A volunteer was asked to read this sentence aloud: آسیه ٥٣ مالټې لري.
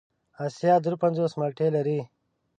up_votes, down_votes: 0, 2